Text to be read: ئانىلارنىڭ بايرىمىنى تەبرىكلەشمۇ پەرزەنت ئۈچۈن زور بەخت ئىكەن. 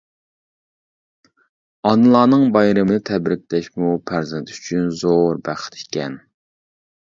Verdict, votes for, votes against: rejected, 0, 2